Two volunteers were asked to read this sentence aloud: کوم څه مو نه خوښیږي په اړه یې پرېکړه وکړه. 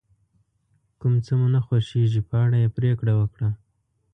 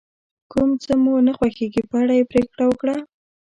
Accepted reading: first